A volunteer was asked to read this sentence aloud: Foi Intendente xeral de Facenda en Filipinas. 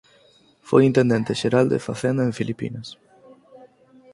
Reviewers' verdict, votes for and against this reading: accepted, 6, 0